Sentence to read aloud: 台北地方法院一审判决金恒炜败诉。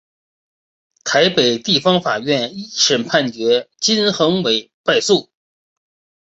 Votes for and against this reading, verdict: 2, 0, accepted